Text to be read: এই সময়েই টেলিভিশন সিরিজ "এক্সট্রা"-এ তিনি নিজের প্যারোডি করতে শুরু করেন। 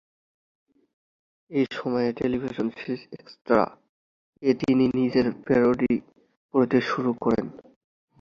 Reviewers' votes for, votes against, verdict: 1, 2, rejected